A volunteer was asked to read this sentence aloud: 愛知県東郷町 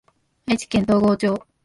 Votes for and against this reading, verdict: 0, 2, rejected